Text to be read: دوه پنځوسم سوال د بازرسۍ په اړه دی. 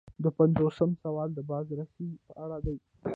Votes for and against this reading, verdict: 0, 2, rejected